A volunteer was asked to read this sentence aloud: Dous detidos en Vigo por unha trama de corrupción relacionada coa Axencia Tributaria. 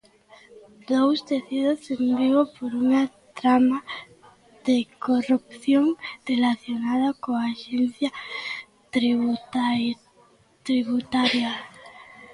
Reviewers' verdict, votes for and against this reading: rejected, 0, 2